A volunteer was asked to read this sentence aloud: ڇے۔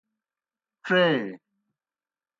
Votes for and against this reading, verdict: 2, 0, accepted